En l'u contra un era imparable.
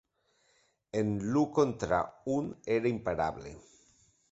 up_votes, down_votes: 3, 0